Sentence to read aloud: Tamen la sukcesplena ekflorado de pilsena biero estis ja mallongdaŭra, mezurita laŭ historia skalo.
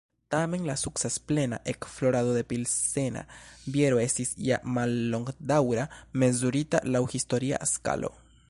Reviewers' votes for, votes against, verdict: 1, 2, rejected